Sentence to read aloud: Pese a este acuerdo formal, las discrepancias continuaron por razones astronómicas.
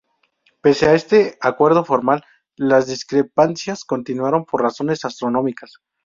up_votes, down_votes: 4, 0